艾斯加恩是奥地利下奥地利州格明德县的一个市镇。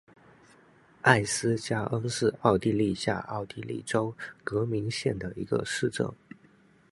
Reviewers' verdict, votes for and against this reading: rejected, 1, 2